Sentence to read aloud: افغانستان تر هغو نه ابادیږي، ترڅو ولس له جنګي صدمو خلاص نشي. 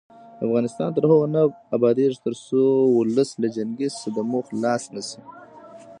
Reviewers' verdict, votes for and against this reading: rejected, 1, 2